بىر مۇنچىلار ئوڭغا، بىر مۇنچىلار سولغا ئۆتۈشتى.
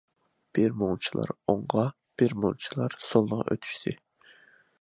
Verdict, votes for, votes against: accepted, 2, 0